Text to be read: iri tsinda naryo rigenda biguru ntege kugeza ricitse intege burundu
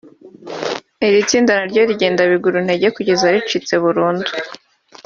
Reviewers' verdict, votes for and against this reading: rejected, 1, 2